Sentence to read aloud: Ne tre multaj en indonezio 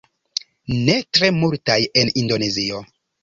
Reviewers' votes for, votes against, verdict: 2, 0, accepted